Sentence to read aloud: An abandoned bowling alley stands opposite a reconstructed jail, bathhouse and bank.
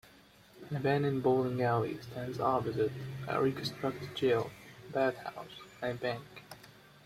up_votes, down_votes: 1, 2